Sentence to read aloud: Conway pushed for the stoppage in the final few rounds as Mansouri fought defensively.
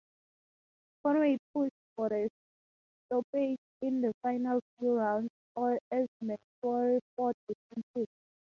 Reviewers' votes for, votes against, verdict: 0, 2, rejected